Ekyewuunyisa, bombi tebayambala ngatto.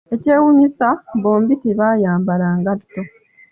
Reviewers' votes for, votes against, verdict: 2, 0, accepted